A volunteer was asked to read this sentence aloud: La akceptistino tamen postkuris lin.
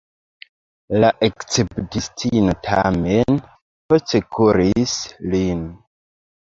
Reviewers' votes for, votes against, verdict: 1, 2, rejected